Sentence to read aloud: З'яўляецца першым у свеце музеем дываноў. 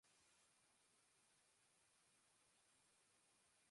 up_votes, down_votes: 0, 2